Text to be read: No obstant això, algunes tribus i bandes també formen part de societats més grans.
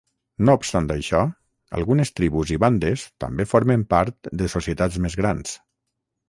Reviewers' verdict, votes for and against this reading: accepted, 6, 0